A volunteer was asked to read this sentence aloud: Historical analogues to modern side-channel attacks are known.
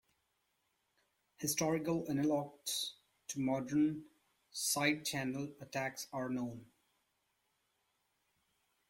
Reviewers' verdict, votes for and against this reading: accepted, 2, 0